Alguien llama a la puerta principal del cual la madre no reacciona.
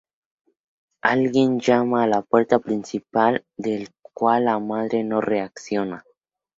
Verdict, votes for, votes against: accepted, 4, 0